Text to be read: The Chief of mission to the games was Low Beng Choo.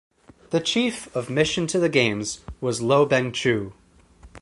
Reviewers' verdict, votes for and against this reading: accepted, 4, 0